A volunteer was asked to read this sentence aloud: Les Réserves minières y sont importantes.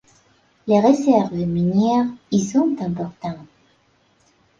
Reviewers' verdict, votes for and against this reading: accepted, 2, 0